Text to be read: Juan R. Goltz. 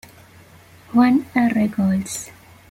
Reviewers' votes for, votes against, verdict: 2, 0, accepted